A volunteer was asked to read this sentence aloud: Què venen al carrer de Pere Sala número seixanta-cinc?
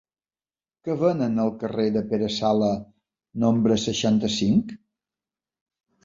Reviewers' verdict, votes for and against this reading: rejected, 1, 2